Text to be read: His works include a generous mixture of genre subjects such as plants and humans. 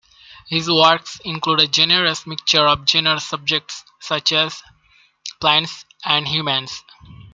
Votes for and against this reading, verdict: 1, 2, rejected